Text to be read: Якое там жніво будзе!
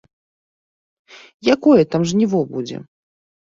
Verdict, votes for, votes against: accepted, 2, 0